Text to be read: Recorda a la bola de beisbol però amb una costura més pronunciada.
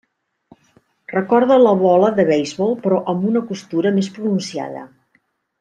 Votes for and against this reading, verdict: 0, 2, rejected